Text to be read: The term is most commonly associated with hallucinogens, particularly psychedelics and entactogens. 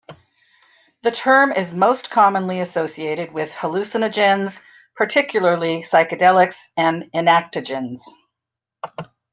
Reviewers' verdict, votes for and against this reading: rejected, 0, 2